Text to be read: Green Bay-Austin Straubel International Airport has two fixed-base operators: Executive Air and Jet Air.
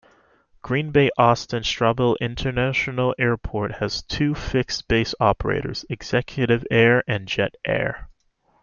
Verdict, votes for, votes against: accepted, 2, 0